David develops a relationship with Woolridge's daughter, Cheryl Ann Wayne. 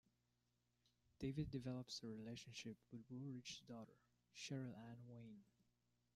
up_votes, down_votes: 2, 0